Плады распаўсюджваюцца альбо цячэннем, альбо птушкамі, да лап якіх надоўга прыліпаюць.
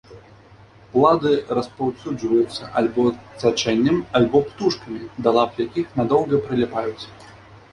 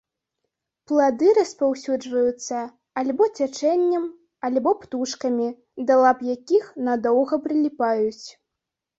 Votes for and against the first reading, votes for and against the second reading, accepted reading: 0, 2, 2, 0, second